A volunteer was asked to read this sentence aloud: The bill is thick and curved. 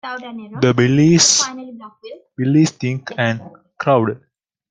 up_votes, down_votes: 1, 2